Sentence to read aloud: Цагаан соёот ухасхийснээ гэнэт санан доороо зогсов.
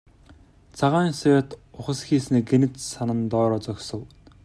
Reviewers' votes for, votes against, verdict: 2, 0, accepted